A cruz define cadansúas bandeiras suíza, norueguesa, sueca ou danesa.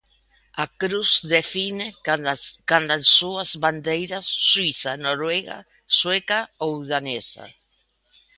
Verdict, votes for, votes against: rejected, 0, 3